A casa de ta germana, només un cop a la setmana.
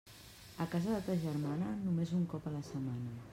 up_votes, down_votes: 1, 2